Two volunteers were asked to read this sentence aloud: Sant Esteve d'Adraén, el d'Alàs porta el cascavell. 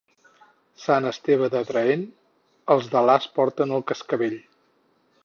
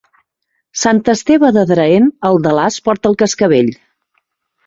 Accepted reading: second